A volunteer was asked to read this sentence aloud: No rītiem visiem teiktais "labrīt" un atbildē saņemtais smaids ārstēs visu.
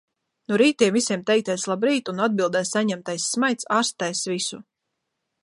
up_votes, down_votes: 2, 0